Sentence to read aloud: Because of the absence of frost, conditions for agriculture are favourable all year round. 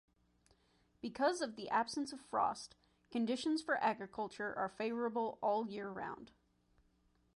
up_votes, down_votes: 2, 0